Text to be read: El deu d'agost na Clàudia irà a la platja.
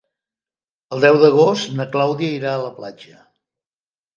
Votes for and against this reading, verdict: 3, 0, accepted